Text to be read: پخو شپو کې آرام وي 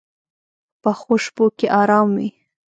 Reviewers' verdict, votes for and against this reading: rejected, 0, 2